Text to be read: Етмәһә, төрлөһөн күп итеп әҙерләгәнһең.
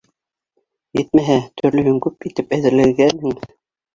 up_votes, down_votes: 2, 1